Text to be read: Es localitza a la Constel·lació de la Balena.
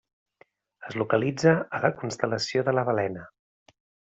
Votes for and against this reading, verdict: 3, 0, accepted